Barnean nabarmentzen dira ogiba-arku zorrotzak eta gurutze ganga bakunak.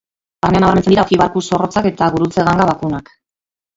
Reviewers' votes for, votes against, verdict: 0, 2, rejected